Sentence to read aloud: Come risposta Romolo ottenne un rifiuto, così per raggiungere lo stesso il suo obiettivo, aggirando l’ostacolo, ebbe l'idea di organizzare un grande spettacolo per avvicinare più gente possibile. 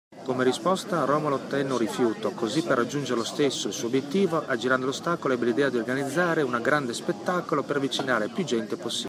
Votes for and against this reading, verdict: 1, 2, rejected